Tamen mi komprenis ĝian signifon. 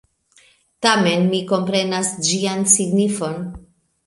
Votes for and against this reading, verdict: 1, 2, rejected